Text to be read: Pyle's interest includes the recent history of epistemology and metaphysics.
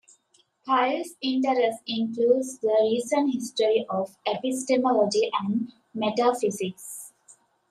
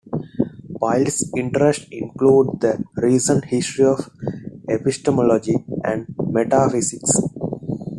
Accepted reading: first